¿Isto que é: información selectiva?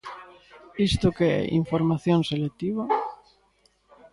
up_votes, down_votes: 2, 0